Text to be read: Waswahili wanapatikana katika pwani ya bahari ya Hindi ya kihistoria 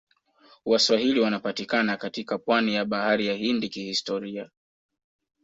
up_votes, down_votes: 2, 0